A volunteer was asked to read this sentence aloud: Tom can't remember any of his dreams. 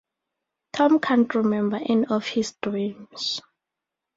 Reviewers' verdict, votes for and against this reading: rejected, 0, 2